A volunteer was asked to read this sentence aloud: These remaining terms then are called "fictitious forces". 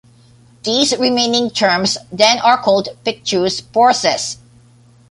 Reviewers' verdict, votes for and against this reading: rejected, 1, 2